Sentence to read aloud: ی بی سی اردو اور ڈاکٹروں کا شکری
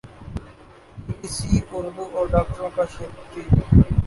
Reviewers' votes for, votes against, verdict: 0, 2, rejected